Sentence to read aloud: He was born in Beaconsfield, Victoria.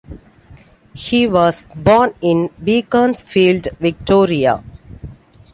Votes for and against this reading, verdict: 2, 0, accepted